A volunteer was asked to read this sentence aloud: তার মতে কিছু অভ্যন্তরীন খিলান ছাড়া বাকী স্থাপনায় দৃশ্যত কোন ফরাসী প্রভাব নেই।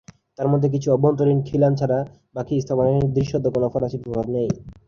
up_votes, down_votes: 7, 5